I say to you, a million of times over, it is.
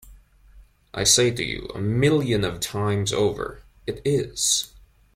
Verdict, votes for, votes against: accepted, 2, 0